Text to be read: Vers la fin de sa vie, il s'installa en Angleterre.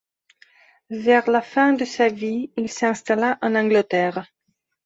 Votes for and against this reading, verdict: 2, 1, accepted